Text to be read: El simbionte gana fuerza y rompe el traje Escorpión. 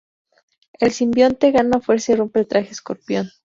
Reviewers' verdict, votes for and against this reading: accepted, 2, 0